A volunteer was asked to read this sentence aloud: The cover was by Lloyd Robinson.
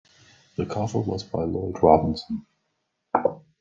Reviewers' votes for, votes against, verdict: 2, 0, accepted